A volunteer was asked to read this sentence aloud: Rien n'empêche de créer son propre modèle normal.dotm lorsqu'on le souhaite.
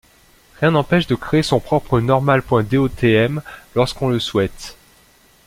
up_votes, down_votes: 0, 2